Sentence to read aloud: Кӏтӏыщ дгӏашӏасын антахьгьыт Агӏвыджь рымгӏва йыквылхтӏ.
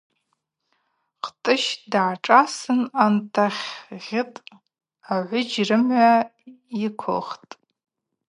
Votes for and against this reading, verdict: 2, 0, accepted